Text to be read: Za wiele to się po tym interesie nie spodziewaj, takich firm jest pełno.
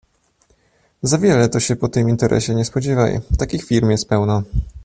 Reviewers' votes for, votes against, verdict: 2, 0, accepted